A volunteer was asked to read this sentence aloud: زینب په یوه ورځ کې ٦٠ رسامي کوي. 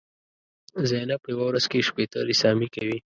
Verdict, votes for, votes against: rejected, 0, 2